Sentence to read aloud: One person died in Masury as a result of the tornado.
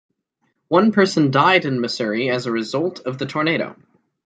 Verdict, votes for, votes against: accepted, 2, 0